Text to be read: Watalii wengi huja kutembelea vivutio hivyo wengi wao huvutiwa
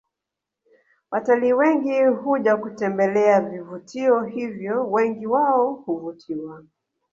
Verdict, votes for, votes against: rejected, 1, 2